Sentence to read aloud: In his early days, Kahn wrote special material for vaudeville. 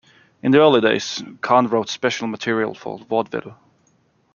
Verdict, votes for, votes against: rejected, 0, 2